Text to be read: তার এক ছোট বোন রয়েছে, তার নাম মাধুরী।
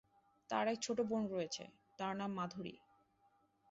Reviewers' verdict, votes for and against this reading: accepted, 3, 0